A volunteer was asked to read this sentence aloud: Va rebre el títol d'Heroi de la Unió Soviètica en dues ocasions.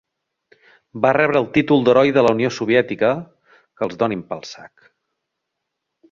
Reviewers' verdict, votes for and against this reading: rejected, 0, 2